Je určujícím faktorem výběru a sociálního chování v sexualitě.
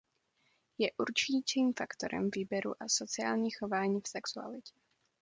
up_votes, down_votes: 0, 2